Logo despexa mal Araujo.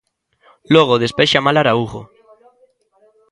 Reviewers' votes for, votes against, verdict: 1, 2, rejected